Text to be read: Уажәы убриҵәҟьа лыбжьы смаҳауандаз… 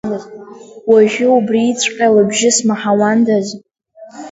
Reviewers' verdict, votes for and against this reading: rejected, 1, 2